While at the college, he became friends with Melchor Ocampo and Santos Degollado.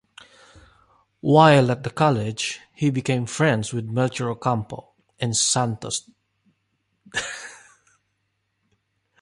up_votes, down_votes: 0, 2